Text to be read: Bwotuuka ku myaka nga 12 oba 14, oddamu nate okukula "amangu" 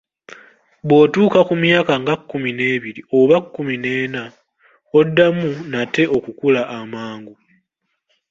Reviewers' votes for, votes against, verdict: 0, 2, rejected